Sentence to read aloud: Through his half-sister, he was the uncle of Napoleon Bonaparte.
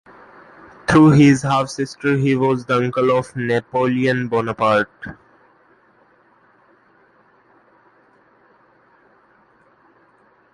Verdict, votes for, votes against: rejected, 1, 2